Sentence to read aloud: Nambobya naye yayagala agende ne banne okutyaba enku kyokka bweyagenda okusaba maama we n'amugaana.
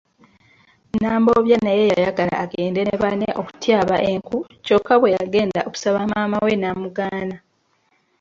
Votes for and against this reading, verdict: 1, 2, rejected